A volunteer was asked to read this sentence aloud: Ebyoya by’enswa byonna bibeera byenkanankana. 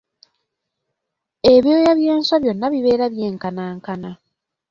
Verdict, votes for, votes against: accepted, 2, 0